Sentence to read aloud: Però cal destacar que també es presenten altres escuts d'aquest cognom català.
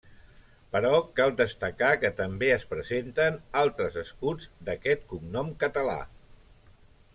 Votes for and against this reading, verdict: 0, 2, rejected